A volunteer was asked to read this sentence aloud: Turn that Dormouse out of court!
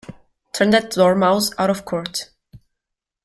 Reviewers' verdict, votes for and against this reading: accepted, 2, 1